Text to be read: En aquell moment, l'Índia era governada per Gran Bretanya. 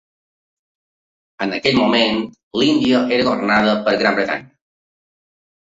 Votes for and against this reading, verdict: 2, 1, accepted